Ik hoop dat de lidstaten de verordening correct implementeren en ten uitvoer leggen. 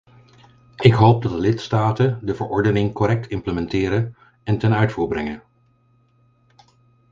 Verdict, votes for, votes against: rejected, 0, 4